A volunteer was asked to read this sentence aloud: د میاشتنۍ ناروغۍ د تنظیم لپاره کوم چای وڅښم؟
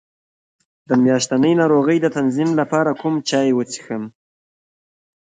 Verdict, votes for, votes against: rejected, 1, 2